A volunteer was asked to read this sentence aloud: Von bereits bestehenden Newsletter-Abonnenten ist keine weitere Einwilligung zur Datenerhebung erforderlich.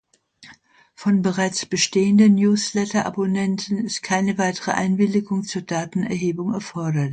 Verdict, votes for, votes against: rejected, 0, 2